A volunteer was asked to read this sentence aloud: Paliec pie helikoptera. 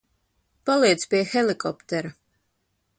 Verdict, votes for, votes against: accepted, 2, 0